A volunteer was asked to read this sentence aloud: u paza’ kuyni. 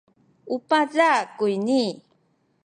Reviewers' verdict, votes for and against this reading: accepted, 2, 0